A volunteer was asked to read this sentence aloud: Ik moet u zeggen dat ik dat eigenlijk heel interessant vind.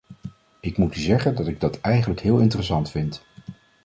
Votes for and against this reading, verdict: 2, 0, accepted